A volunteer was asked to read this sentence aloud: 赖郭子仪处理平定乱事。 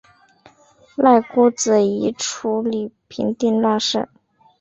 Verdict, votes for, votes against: rejected, 0, 2